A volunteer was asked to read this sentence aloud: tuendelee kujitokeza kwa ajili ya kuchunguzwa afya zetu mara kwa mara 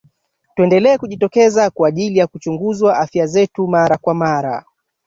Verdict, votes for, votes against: accepted, 2, 1